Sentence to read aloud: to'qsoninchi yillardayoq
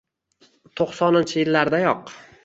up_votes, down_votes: 2, 1